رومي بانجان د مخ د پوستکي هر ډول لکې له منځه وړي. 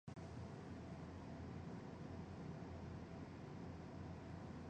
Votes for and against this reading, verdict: 0, 2, rejected